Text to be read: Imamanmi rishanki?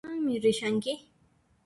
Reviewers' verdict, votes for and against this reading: rejected, 0, 2